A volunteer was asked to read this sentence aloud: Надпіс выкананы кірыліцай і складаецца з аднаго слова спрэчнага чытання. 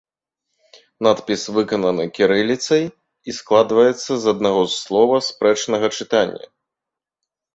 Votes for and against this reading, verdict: 0, 2, rejected